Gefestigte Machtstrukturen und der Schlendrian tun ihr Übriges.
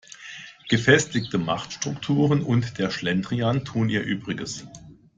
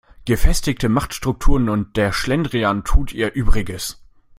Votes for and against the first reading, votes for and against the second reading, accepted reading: 2, 0, 1, 2, first